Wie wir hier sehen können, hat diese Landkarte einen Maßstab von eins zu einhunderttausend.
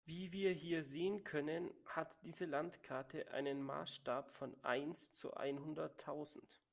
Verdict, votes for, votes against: accepted, 2, 0